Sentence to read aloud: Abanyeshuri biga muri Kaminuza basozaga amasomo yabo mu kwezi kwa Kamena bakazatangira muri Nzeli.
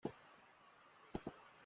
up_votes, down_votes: 0, 2